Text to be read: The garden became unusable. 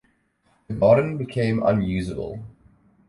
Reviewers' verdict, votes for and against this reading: accepted, 2, 0